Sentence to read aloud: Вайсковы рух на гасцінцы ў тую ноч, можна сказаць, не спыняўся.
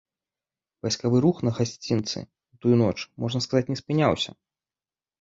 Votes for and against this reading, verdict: 2, 0, accepted